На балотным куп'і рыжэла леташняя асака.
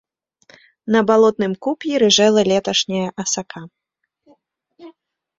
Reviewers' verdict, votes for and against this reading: accepted, 3, 1